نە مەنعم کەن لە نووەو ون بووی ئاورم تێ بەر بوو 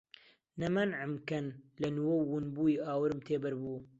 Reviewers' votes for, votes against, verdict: 2, 0, accepted